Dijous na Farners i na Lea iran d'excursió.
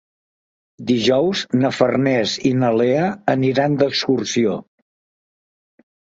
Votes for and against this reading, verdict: 1, 4, rejected